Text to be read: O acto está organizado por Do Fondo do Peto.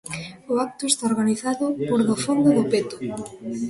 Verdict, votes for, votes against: rejected, 1, 2